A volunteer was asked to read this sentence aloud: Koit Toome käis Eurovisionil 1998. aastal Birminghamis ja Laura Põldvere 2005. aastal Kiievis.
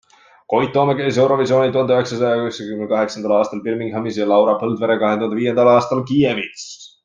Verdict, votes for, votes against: rejected, 0, 2